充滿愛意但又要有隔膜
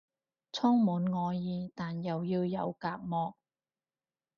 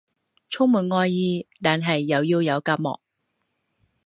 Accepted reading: first